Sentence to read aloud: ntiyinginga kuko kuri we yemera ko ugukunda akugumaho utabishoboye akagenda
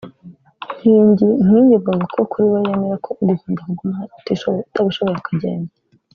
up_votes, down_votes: 1, 2